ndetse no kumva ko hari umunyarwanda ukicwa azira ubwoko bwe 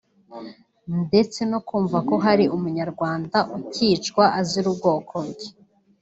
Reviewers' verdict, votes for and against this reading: rejected, 0, 2